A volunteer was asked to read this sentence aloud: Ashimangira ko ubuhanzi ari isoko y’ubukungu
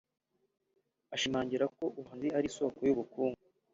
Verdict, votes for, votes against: accepted, 2, 0